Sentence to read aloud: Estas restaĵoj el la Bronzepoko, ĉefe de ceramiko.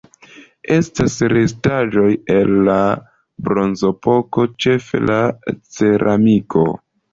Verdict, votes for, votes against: rejected, 1, 2